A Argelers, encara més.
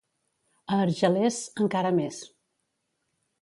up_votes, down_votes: 2, 0